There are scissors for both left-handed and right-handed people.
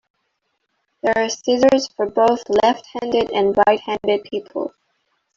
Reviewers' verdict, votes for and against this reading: rejected, 0, 2